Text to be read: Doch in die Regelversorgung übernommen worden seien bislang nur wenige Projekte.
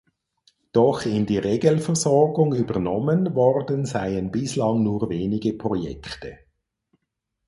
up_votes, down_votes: 4, 0